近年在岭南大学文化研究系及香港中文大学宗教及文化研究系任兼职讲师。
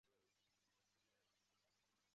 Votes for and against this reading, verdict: 1, 3, rejected